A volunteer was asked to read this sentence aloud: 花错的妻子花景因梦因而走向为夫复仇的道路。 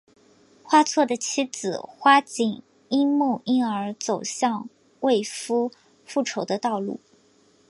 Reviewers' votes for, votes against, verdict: 2, 1, accepted